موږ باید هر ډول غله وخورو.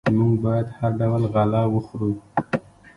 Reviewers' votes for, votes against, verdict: 0, 2, rejected